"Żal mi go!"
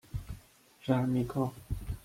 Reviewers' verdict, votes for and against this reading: rejected, 1, 2